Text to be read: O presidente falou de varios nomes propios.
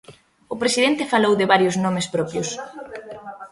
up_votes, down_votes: 1, 2